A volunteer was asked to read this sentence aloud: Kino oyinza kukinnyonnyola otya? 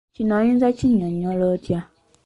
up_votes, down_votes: 1, 2